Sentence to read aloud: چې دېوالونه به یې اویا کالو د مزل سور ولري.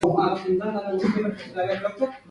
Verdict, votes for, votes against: accepted, 2, 0